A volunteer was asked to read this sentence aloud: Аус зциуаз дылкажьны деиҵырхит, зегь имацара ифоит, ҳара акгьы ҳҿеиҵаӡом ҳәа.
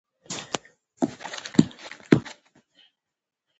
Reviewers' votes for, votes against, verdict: 1, 3, rejected